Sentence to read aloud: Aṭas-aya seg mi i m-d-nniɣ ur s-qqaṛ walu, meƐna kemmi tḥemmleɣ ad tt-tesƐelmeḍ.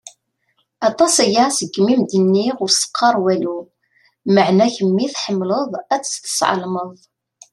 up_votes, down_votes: 2, 0